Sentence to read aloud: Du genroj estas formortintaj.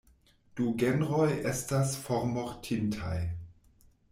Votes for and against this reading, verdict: 2, 0, accepted